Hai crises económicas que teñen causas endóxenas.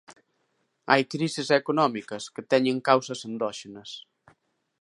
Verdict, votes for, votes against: accepted, 2, 0